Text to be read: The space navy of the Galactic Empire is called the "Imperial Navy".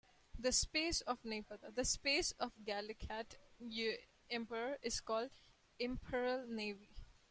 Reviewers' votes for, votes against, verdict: 0, 2, rejected